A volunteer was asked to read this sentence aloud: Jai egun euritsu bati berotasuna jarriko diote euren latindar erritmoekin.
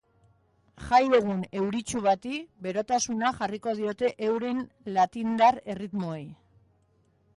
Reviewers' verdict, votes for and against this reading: rejected, 0, 2